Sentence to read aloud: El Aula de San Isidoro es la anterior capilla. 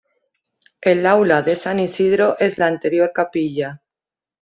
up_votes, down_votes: 1, 2